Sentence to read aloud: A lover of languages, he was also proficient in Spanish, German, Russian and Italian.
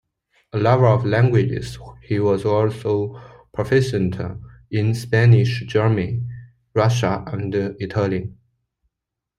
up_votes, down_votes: 1, 2